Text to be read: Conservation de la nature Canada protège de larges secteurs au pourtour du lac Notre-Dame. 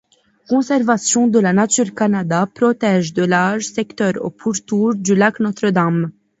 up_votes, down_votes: 2, 0